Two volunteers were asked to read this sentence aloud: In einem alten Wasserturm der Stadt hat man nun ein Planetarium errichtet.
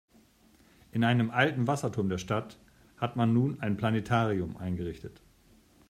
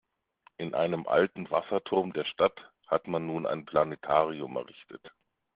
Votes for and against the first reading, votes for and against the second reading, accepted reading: 1, 2, 2, 0, second